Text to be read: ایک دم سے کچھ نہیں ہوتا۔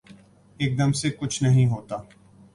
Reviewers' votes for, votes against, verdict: 2, 0, accepted